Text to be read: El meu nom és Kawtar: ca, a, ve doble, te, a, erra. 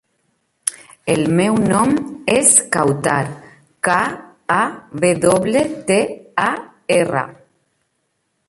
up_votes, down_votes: 2, 0